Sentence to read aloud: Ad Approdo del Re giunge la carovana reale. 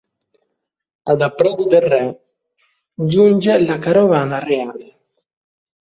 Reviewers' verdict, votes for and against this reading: accepted, 2, 0